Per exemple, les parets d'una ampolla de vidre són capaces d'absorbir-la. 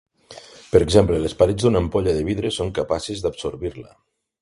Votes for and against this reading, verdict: 2, 0, accepted